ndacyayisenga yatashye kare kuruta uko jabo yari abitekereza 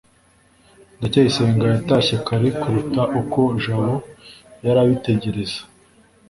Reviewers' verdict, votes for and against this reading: rejected, 1, 2